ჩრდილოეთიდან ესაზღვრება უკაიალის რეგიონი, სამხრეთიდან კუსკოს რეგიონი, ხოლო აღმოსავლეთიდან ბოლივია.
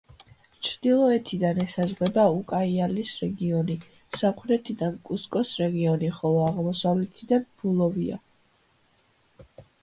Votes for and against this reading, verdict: 2, 0, accepted